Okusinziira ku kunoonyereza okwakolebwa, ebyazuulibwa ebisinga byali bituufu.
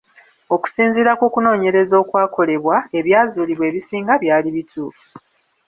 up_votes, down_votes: 3, 0